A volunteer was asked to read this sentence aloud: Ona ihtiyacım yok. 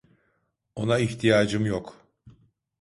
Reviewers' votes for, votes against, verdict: 2, 0, accepted